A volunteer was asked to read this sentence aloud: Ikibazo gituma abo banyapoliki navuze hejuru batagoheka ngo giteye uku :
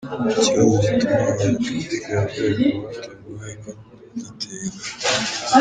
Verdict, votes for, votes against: rejected, 1, 4